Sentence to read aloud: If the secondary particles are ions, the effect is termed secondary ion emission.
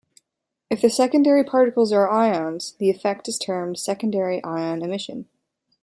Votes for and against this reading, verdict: 2, 0, accepted